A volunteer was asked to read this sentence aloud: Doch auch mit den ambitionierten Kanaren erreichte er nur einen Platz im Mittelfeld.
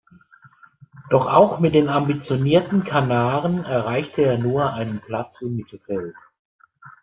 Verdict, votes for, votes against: accepted, 2, 1